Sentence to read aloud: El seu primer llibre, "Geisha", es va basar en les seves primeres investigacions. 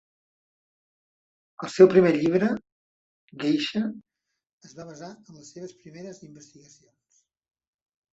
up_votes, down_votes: 1, 2